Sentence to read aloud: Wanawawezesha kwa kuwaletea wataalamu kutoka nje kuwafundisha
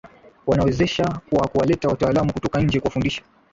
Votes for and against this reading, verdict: 2, 0, accepted